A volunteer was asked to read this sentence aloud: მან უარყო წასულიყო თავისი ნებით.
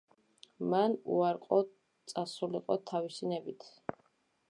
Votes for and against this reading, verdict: 3, 0, accepted